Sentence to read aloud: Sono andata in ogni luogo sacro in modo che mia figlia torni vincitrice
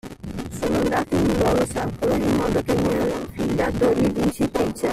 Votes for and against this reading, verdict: 0, 3, rejected